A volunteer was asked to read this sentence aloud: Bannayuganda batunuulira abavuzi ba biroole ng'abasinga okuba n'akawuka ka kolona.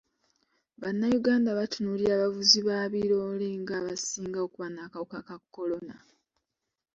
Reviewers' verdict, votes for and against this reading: accepted, 2, 1